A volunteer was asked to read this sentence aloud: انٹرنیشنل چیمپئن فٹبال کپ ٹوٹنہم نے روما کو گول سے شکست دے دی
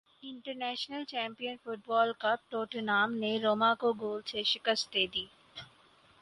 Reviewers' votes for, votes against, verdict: 4, 0, accepted